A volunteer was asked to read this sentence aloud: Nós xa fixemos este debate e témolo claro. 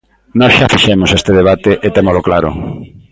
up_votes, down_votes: 0, 2